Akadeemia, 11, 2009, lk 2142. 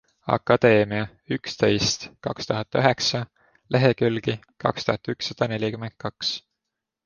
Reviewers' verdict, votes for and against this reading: rejected, 0, 2